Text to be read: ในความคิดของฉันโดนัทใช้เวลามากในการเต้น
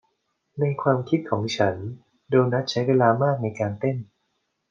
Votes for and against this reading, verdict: 2, 0, accepted